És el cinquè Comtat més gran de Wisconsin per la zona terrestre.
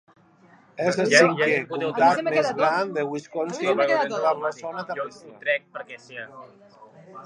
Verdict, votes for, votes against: rejected, 0, 2